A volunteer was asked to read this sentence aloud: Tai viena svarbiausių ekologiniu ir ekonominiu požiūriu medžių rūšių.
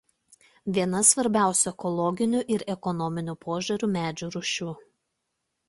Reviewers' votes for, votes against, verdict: 0, 2, rejected